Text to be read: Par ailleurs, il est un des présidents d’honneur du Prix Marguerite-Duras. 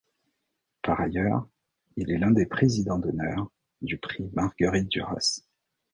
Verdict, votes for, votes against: rejected, 1, 2